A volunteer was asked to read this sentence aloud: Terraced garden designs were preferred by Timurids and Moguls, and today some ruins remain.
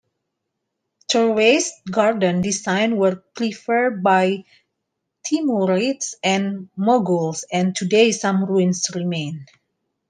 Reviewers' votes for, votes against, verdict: 2, 0, accepted